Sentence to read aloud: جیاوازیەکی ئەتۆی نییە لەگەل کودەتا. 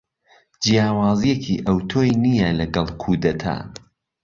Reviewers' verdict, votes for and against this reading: accepted, 2, 0